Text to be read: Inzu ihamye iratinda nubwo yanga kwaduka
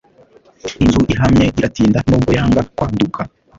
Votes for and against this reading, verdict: 1, 2, rejected